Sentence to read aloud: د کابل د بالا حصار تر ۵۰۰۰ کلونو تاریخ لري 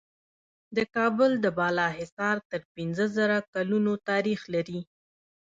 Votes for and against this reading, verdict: 0, 2, rejected